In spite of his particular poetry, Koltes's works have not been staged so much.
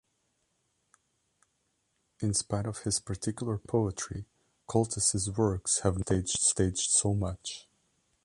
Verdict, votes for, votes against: rejected, 1, 2